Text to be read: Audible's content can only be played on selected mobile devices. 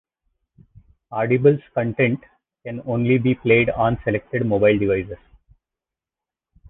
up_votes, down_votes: 0, 2